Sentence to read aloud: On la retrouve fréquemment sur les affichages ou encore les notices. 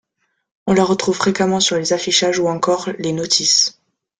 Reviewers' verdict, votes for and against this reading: accepted, 2, 0